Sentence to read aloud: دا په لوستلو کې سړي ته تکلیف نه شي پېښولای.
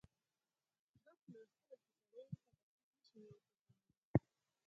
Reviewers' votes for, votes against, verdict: 2, 4, rejected